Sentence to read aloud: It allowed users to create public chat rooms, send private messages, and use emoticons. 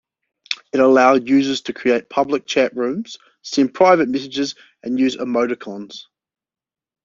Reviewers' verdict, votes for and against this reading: accepted, 2, 0